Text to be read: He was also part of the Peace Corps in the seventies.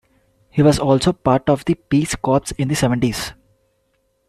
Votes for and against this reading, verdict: 2, 0, accepted